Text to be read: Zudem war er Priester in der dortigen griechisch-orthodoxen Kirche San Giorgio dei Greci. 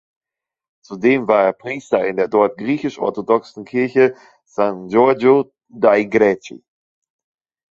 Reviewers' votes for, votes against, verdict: 1, 2, rejected